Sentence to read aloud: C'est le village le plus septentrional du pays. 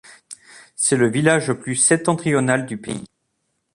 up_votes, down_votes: 2, 0